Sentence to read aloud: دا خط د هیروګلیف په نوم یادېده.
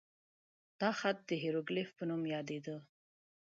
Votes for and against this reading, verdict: 2, 0, accepted